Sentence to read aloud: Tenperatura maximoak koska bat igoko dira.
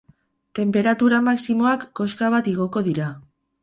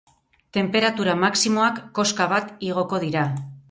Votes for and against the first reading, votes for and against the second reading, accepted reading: 8, 0, 0, 2, first